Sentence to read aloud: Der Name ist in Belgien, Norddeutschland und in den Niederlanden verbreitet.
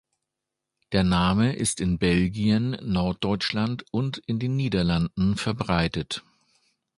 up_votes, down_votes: 2, 0